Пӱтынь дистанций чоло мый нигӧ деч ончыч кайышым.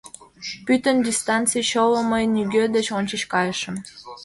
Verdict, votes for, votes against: rejected, 1, 2